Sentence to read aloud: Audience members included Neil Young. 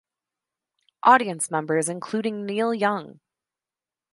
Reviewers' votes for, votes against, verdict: 0, 2, rejected